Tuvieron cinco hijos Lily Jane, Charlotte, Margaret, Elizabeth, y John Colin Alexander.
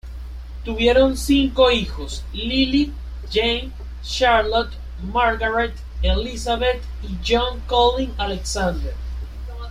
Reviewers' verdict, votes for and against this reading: rejected, 1, 2